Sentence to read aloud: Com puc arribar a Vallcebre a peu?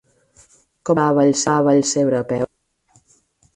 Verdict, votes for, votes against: rejected, 0, 4